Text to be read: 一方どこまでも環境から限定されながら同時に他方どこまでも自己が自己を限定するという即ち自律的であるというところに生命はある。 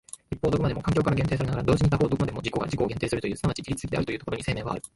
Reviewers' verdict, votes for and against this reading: accepted, 2, 1